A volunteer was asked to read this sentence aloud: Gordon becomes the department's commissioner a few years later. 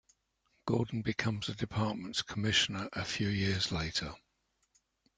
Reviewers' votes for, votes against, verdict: 2, 0, accepted